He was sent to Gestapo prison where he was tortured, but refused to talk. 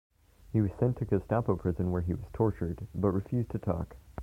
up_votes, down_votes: 1, 2